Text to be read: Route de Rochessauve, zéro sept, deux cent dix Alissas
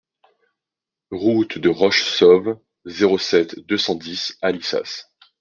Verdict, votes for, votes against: accepted, 2, 0